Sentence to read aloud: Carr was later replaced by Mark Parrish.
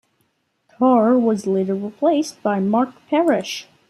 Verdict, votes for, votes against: accepted, 2, 0